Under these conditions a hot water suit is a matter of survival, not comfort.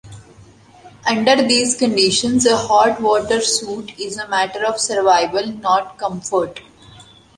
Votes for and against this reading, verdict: 2, 0, accepted